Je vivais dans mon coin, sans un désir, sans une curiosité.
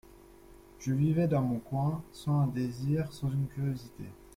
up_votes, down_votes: 1, 2